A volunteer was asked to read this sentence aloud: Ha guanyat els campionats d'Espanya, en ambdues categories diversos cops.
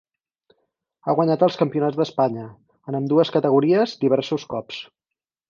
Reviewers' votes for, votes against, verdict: 4, 0, accepted